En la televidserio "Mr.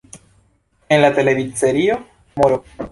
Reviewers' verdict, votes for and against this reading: rejected, 1, 2